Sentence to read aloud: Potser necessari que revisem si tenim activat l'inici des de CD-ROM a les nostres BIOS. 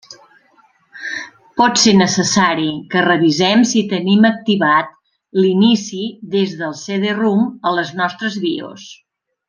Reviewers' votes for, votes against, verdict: 0, 2, rejected